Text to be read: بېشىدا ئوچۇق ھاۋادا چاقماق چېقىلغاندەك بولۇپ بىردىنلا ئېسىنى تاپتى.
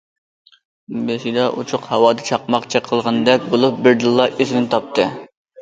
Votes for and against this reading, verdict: 2, 0, accepted